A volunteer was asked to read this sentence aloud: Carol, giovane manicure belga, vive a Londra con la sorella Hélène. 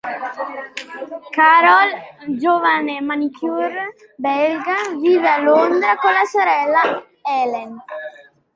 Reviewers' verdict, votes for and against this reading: accepted, 2, 0